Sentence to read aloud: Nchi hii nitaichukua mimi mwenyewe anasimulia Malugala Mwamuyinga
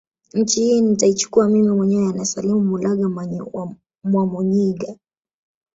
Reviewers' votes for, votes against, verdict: 1, 2, rejected